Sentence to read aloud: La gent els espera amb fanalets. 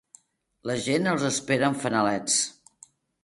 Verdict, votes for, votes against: accepted, 2, 0